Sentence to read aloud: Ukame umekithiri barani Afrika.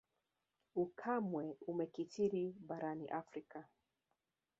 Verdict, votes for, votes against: rejected, 1, 2